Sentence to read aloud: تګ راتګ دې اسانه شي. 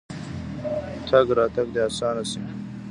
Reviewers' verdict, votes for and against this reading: rejected, 0, 2